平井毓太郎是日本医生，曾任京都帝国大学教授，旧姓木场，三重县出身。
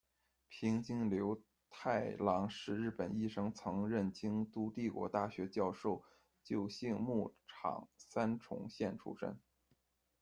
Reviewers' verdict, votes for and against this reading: rejected, 0, 2